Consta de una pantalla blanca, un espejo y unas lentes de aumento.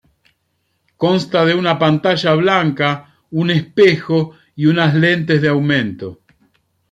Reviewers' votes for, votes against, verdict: 2, 0, accepted